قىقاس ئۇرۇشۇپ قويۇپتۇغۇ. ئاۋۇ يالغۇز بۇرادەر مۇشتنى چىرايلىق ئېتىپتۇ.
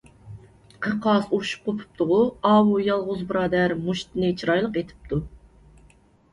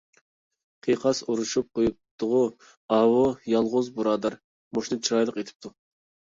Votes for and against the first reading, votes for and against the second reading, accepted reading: 0, 2, 2, 0, second